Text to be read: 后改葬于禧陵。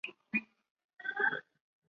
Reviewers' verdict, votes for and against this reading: rejected, 1, 2